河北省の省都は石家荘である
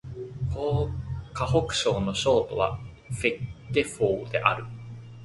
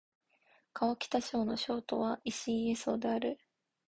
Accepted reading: first